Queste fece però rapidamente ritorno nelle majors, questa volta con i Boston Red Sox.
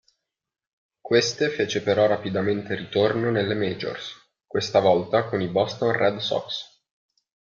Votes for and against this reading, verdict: 2, 0, accepted